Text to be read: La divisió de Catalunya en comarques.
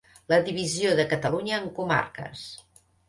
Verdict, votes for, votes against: accepted, 2, 0